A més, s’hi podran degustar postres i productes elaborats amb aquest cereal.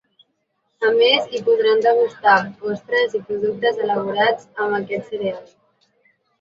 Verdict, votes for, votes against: accepted, 2, 1